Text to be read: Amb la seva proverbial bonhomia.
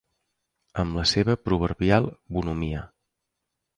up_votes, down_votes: 2, 0